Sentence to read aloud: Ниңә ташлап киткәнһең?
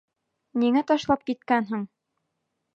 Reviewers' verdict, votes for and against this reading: accepted, 2, 0